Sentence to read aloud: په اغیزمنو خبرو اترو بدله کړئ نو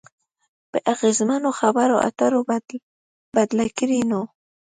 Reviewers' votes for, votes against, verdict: 1, 2, rejected